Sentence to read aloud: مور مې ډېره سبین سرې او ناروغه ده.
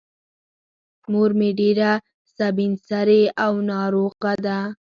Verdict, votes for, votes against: accepted, 4, 0